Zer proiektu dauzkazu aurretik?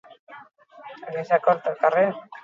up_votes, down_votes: 0, 4